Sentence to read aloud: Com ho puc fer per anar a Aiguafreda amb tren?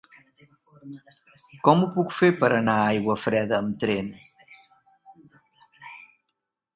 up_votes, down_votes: 3, 0